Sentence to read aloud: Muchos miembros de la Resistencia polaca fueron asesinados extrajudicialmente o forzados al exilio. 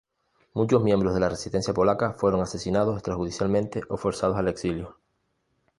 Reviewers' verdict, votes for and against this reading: accepted, 2, 0